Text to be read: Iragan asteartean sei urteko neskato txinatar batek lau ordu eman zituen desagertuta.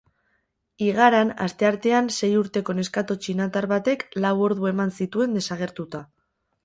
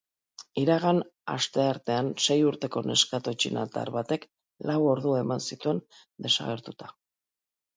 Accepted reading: second